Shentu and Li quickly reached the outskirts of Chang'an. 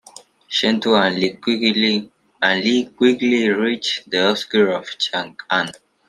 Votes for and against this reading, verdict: 0, 2, rejected